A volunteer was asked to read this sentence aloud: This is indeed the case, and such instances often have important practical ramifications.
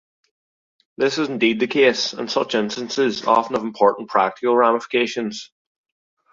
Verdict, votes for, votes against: accepted, 2, 0